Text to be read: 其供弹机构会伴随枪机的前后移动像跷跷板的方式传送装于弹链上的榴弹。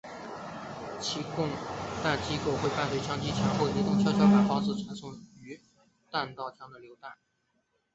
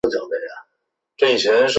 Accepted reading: second